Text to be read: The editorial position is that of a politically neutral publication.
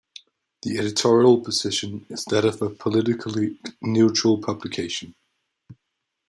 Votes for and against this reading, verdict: 2, 0, accepted